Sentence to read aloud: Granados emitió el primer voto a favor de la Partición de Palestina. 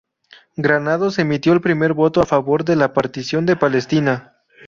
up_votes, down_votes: 2, 0